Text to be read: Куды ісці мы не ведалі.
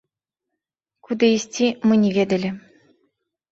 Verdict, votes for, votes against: rejected, 1, 2